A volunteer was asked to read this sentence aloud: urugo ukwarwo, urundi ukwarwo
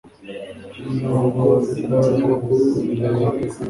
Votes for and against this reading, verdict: 1, 2, rejected